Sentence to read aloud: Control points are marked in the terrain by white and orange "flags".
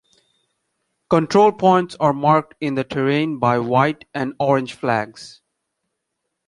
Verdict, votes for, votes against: accepted, 2, 0